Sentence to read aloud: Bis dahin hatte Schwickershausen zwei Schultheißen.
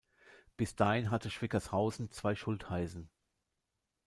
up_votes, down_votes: 1, 2